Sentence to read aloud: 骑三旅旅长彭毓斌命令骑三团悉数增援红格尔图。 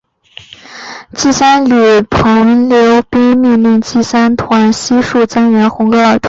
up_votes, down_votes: 2, 0